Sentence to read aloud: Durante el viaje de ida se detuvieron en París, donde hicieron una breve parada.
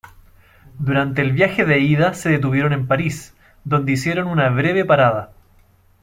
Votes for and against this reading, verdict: 0, 2, rejected